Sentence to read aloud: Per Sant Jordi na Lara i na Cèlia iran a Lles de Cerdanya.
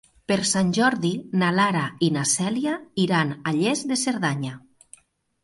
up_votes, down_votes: 2, 0